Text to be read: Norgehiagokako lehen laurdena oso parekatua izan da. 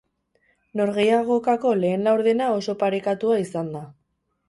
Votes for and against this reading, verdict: 2, 2, rejected